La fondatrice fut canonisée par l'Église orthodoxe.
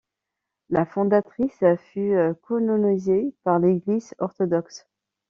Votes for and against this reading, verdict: 1, 2, rejected